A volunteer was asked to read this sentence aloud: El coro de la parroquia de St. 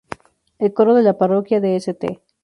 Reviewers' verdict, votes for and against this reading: rejected, 0, 2